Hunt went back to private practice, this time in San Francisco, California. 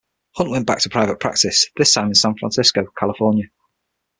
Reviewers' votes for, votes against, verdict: 6, 0, accepted